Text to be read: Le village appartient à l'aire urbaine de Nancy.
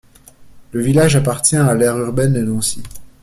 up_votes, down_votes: 2, 0